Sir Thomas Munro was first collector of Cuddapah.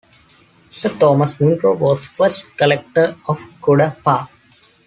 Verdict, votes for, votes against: rejected, 1, 2